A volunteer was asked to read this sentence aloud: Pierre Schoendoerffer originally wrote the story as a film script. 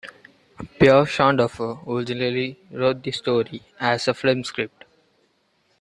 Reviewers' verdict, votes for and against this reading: rejected, 0, 2